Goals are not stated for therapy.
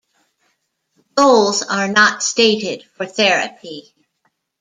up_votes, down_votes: 1, 2